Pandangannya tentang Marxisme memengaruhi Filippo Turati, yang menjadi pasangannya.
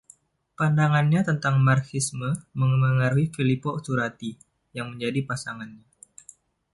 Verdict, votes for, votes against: accepted, 2, 1